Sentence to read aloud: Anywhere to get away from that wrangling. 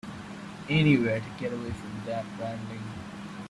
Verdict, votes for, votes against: rejected, 0, 2